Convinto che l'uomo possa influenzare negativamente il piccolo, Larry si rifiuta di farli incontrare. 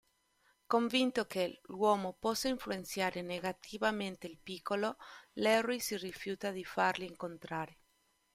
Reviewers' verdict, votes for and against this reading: accepted, 2, 1